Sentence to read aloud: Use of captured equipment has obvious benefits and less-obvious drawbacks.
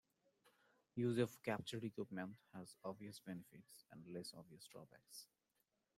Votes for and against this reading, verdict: 2, 1, accepted